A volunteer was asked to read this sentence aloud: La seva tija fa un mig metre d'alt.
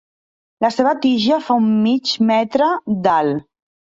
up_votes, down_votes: 2, 0